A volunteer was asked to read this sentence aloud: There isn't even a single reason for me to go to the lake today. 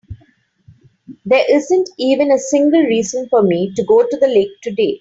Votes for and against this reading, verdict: 2, 0, accepted